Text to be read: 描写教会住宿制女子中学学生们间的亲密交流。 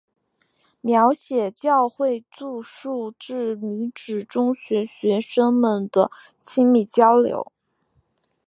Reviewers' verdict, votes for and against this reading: accepted, 2, 0